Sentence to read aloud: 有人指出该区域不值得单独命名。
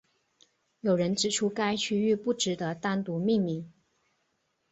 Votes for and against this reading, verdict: 4, 0, accepted